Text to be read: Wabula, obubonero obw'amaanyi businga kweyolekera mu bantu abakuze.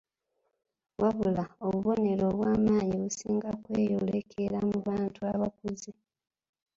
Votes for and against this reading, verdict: 2, 1, accepted